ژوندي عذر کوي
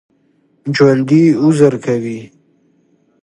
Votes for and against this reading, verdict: 2, 0, accepted